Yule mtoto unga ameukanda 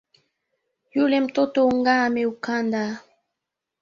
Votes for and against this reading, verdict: 2, 1, accepted